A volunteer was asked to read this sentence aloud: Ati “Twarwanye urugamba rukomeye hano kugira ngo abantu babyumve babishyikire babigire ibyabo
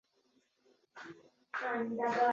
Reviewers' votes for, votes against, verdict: 0, 2, rejected